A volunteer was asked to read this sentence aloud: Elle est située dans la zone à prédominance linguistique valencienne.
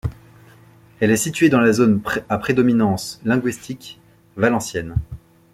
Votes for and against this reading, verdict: 1, 2, rejected